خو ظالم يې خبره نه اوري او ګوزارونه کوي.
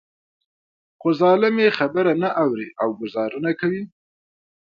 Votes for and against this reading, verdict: 2, 0, accepted